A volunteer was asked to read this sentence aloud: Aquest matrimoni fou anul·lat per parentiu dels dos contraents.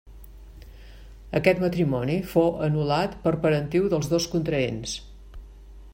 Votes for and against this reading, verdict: 3, 0, accepted